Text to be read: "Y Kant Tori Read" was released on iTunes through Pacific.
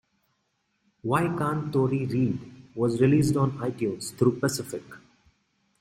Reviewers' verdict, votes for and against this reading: accepted, 6, 0